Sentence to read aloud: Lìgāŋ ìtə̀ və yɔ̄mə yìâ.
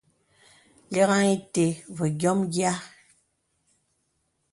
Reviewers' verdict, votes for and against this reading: accepted, 2, 0